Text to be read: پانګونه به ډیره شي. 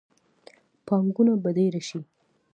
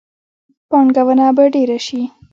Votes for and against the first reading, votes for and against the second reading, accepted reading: 2, 0, 1, 2, first